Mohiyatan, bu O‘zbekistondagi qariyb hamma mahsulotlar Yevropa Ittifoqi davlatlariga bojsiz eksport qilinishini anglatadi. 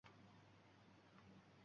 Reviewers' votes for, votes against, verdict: 0, 2, rejected